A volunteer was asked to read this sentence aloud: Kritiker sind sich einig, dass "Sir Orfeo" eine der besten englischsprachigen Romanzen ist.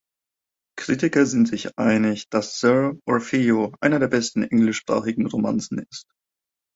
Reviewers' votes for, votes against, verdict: 2, 1, accepted